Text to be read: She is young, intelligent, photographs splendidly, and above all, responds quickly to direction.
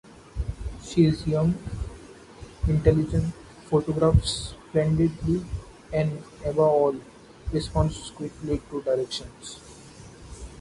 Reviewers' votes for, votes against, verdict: 0, 2, rejected